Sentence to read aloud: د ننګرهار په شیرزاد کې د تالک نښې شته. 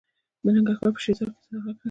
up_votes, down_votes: 0, 2